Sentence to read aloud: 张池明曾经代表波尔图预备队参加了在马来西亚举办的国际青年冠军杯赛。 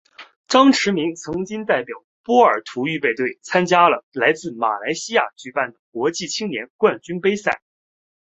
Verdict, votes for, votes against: accepted, 3, 1